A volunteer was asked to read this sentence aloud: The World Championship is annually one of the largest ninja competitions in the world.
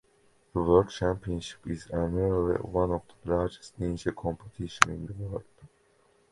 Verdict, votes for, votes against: rejected, 1, 2